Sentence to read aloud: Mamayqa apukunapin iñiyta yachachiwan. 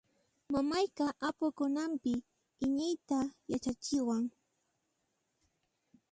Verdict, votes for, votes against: accepted, 2, 1